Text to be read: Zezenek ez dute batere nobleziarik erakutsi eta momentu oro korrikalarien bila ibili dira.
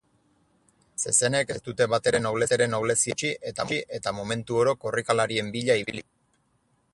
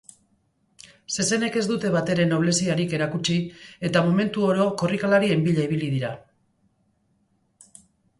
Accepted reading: second